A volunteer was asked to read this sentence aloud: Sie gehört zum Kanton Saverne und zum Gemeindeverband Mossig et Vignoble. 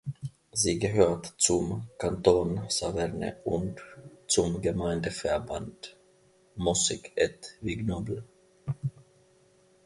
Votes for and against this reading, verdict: 0, 2, rejected